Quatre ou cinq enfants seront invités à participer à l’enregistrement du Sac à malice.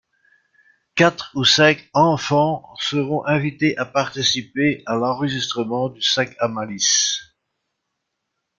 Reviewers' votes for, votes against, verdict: 2, 0, accepted